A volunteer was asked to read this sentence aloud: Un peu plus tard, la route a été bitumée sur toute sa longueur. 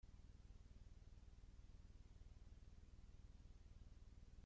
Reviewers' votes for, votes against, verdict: 0, 2, rejected